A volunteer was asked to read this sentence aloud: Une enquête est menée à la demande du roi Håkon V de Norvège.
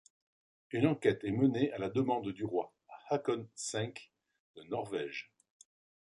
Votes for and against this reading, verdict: 1, 2, rejected